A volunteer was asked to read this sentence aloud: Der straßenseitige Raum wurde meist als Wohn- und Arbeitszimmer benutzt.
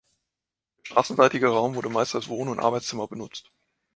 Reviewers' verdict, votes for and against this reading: rejected, 0, 2